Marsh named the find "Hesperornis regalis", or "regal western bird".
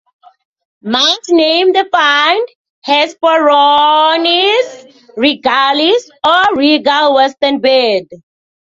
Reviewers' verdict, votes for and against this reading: rejected, 1, 2